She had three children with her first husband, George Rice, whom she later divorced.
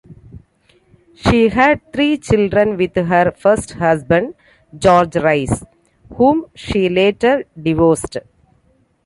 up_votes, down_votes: 2, 0